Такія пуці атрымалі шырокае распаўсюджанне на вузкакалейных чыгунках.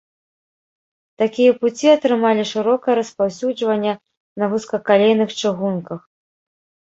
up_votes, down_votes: 1, 2